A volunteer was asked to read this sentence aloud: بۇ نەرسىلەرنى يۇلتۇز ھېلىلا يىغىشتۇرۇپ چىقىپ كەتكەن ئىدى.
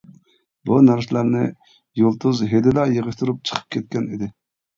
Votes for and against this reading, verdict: 0, 2, rejected